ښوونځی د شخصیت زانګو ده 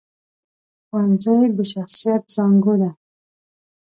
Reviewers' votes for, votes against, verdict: 2, 0, accepted